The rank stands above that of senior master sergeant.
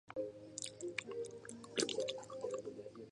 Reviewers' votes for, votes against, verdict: 0, 2, rejected